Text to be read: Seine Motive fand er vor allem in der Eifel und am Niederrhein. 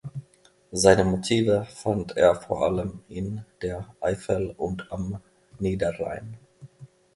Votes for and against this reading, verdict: 2, 0, accepted